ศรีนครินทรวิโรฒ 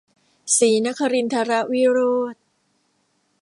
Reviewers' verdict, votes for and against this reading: rejected, 1, 2